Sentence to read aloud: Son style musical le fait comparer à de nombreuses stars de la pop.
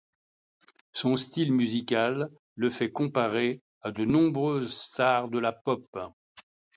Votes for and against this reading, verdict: 2, 0, accepted